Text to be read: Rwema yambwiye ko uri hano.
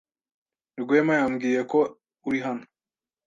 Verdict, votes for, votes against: accepted, 2, 0